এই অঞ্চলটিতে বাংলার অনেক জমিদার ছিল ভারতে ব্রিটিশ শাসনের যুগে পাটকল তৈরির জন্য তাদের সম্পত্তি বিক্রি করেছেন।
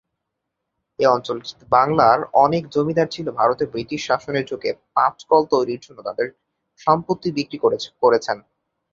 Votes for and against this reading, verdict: 0, 3, rejected